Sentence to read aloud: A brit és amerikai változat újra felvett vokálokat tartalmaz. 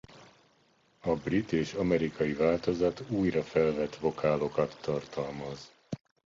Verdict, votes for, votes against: accepted, 2, 0